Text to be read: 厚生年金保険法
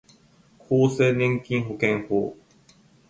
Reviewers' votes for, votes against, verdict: 2, 0, accepted